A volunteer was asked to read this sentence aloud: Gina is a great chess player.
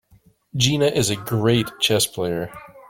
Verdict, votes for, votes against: accepted, 2, 0